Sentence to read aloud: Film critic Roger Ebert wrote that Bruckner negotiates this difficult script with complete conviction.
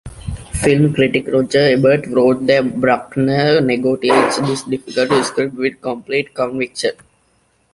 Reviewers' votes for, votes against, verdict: 1, 2, rejected